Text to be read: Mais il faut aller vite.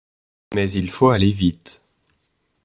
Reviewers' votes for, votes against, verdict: 2, 0, accepted